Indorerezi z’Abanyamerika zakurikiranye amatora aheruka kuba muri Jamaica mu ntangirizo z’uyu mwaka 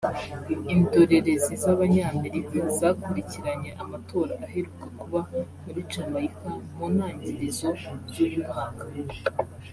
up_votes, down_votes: 2, 0